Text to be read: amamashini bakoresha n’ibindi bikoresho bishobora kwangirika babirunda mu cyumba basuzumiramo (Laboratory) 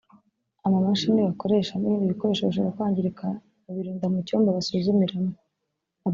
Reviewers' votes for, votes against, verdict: 1, 2, rejected